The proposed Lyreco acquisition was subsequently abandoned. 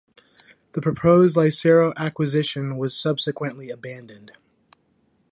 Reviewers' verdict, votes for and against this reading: accepted, 2, 1